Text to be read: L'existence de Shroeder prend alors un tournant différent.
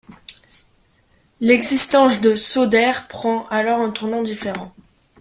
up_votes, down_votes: 0, 2